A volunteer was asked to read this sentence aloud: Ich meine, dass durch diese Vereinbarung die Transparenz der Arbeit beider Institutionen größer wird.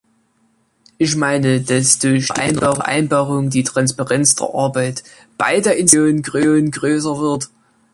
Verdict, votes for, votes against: rejected, 0, 2